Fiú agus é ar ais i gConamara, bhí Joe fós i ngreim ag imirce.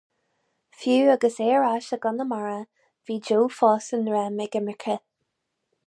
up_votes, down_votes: 2, 2